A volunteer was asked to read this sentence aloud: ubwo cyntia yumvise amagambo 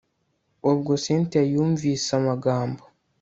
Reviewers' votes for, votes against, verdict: 2, 0, accepted